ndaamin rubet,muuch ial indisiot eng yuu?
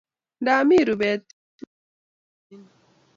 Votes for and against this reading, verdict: 1, 2, rejected